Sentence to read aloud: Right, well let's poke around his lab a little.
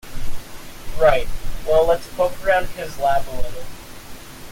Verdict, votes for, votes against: accepted, 2, 0